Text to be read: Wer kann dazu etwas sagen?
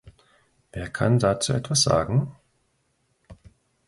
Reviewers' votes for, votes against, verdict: 2, 0, accepted